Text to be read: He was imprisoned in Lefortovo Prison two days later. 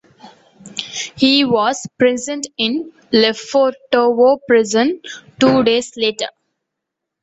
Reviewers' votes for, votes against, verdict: 0, 2, rejected